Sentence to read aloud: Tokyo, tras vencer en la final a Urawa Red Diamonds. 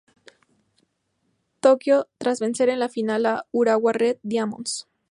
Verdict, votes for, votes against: accepted, 2, 0